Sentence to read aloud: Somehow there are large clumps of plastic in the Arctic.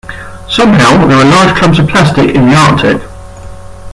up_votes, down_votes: 0, 2